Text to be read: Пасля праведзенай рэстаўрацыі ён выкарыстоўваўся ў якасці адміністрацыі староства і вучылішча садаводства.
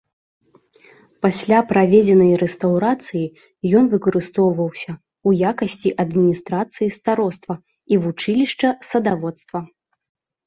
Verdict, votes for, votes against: rejected, 1, 2